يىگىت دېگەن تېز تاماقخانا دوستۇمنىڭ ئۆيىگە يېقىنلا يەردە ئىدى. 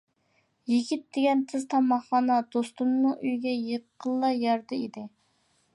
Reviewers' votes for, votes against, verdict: 2, 0, accepted